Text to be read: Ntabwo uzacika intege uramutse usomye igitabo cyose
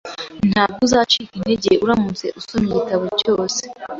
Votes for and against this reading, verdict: 2, 1, accepted